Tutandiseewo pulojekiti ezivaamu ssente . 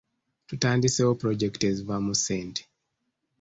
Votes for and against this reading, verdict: 2, 0, accepted